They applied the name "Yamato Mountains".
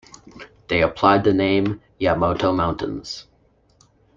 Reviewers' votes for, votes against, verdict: 1, 2, rejected